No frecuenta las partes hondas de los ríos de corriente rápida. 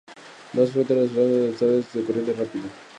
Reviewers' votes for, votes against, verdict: 0, 2, rejected